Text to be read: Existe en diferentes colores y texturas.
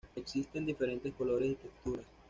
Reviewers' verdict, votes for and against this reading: rejected, 1, 2